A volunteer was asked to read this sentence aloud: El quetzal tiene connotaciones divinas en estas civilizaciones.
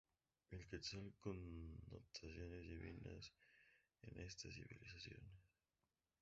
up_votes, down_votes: 0, 4